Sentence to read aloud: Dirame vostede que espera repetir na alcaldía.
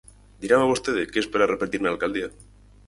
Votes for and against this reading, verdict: 4, 0, accepted